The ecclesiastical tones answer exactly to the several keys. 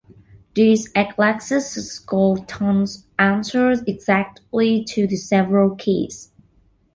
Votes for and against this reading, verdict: 1, 2, rejected